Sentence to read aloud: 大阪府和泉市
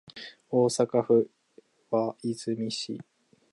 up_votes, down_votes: 1, 2